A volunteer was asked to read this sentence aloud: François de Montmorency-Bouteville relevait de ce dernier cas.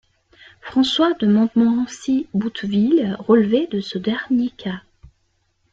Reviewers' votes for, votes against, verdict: 0, 2, rejected